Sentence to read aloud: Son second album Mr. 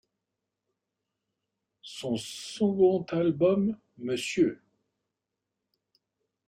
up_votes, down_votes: 0, 2